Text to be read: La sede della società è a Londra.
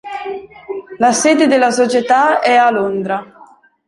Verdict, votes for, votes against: accepted, 2, 0